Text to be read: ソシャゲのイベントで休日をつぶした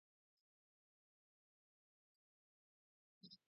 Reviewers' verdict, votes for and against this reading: rejected, 0, 2